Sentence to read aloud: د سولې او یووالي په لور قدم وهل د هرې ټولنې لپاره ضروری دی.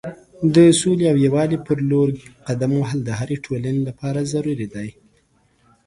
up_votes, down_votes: 2, 0